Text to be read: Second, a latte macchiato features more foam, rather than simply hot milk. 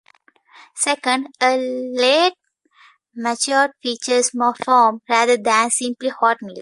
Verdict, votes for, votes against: rejected, 0, 2